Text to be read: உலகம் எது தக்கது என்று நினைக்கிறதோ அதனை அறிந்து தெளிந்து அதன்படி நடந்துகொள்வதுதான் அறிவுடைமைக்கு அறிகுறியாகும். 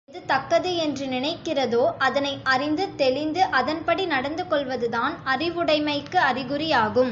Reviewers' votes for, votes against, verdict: 1, 2, rejected